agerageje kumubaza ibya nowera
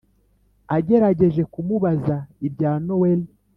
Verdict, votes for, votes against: accepted, 3, 0